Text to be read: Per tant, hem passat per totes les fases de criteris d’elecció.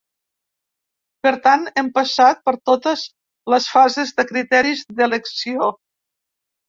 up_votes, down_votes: 1, 2